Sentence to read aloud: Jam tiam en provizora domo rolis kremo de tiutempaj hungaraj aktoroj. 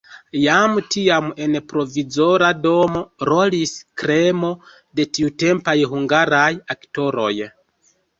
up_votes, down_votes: 1, 2